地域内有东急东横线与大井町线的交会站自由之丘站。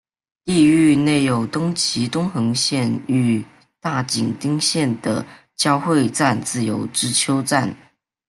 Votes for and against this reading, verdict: 2, 0, accepted